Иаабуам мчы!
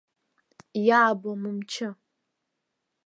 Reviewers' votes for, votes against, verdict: 1, 2, rejected